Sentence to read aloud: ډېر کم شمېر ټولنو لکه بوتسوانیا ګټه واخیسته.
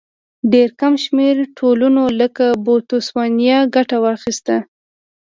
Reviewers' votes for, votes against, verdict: 2, 0, accepted